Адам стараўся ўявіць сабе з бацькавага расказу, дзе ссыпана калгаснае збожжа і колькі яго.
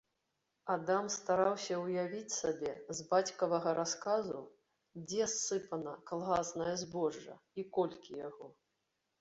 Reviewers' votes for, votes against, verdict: 2, 0, accepted